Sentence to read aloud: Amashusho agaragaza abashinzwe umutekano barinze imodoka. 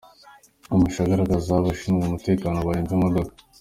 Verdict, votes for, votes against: accepted, 2, 1